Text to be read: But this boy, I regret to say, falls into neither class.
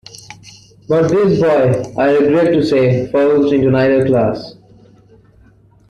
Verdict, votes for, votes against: rejected, 1, 2